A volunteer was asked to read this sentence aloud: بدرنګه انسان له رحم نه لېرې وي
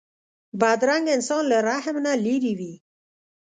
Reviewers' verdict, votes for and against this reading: accepted, 2, 0